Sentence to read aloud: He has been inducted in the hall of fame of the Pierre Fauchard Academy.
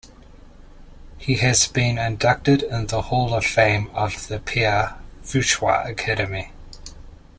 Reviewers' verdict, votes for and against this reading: accepted, 2, 0